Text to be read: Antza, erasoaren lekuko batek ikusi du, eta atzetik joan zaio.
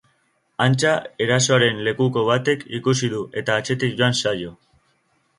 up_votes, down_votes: 7, 0